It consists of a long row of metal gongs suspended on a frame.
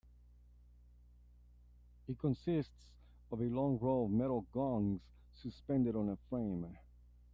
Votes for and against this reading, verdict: 0, 2, rejected